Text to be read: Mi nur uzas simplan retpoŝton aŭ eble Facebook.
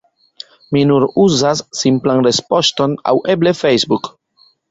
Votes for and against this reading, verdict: 1, 2, rejected